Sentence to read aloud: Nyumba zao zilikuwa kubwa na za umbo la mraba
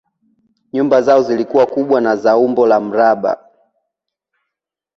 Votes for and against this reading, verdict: 0, 2, rejected